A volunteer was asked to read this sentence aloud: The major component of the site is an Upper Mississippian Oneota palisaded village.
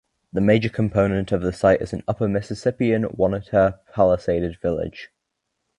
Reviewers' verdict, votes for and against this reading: accepted, 2, 0